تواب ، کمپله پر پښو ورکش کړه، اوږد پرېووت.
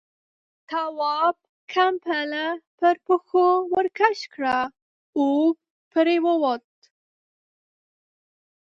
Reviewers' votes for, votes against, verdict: 2, 1, accepted